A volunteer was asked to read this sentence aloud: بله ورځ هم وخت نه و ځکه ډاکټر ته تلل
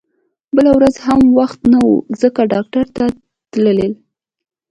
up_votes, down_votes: 2, 0